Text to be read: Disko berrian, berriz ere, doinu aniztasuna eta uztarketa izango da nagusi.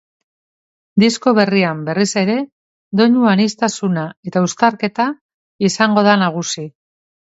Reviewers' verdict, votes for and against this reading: accepted, 2, 0